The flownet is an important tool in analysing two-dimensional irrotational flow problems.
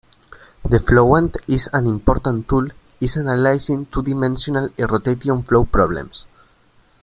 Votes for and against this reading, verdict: 0, 2, rejected